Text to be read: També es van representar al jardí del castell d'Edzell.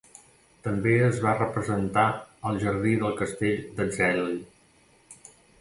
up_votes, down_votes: 0, 2